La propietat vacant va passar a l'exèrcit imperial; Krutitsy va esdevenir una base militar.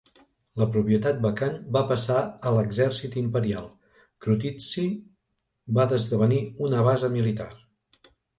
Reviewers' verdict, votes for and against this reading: rejected, 0, 2